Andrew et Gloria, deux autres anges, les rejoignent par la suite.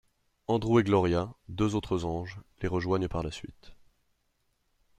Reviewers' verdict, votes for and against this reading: accepted, 2, 0